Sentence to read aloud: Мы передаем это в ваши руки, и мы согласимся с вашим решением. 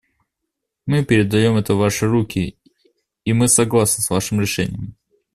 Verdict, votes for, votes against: rejected, 0, 2